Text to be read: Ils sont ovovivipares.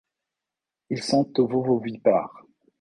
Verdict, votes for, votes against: rejected, 1, 2